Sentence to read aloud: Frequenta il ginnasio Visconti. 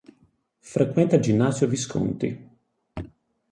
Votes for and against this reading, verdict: 6, 0, accepted